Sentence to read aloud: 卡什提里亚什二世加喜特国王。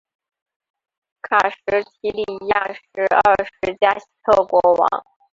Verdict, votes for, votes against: rejected, 0, 2